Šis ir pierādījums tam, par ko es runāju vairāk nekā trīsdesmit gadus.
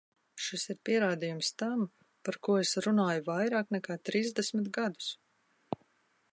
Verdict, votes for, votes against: accepted, 2, 0